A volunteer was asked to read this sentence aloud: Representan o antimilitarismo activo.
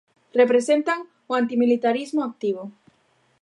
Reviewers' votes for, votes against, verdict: 2, 0, accepted